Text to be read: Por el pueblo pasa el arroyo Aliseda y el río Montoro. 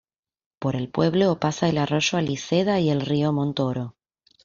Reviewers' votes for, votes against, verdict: 2, 1, accepted